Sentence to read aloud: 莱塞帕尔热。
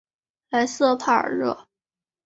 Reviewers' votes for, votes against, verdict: 2, 0, accepted